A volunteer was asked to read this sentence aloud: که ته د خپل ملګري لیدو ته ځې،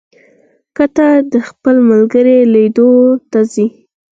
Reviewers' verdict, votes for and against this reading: accepted, 4, 0